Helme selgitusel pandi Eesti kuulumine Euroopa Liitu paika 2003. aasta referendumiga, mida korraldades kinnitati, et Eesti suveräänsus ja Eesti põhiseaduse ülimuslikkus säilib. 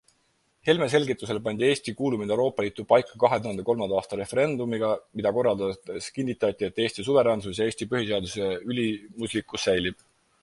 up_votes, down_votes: 0, 2